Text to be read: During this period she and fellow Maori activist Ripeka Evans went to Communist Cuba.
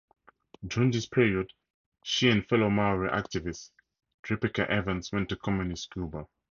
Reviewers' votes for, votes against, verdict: 4, 0, accepted